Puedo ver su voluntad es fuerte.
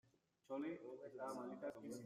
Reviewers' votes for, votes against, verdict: 0, 2, rejected